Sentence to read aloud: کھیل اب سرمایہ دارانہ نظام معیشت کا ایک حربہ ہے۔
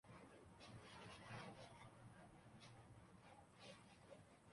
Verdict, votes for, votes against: rejected, 0, 3